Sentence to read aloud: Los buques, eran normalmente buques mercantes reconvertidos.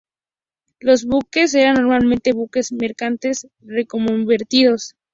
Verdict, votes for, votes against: accepted, 2, 0